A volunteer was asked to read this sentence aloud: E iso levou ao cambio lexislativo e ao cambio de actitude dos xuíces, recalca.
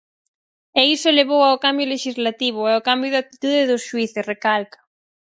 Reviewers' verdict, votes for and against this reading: accepted, 4, 0